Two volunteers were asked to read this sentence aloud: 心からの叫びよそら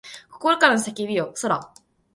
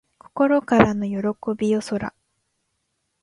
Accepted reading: first